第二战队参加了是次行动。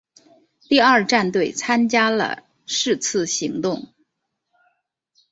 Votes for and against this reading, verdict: 3, 0, accepted